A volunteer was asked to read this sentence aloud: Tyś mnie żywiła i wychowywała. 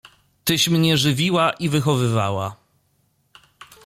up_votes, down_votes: 2, 0